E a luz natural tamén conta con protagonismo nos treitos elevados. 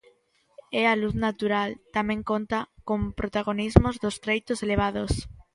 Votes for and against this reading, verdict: 0, 2, rejected